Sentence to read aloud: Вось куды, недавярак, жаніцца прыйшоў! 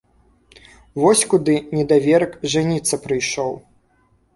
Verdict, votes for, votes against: rejected, 0, 2